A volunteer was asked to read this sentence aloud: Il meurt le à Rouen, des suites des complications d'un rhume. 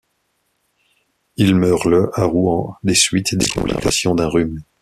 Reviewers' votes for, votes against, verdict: 0, 2, rejected